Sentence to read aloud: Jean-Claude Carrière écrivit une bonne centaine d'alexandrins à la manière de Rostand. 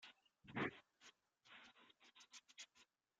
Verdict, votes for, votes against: rejected, 0, 2